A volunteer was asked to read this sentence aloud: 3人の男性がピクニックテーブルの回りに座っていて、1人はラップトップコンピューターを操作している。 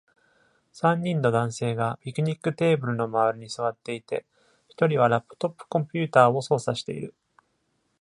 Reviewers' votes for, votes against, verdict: 0, 2, rejected